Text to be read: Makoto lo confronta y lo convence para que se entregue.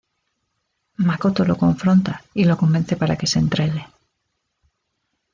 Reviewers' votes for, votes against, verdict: 2, 0, accepted